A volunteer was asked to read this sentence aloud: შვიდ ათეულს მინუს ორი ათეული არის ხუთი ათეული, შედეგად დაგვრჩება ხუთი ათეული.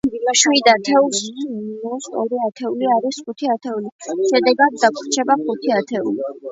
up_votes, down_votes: 2, 0